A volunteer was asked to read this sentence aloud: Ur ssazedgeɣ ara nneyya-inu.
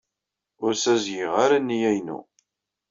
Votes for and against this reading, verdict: 2, 0, accepted